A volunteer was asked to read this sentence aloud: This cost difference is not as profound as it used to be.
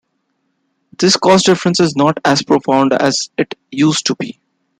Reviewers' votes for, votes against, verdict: 2, 0, accepted